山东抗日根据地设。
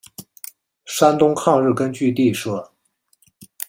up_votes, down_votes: 2, 0